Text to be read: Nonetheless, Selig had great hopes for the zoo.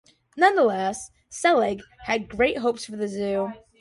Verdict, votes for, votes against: accepted, 2, 0